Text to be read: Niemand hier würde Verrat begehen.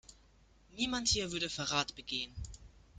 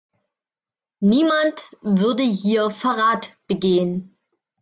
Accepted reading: first